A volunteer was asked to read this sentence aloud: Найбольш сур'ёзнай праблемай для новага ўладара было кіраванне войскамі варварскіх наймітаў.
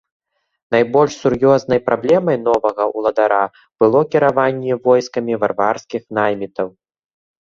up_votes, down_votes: 0, 3